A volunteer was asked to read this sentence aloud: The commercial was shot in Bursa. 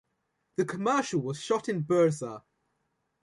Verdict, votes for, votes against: accepted, 2, 0